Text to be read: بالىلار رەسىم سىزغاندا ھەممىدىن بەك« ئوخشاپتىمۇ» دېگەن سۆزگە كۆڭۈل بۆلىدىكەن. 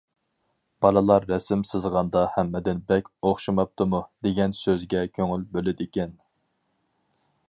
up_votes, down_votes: 0, 4